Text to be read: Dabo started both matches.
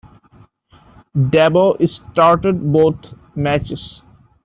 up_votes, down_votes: 0, 2